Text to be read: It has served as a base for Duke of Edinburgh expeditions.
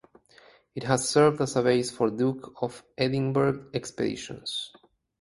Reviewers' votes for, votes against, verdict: 2, 2, rejected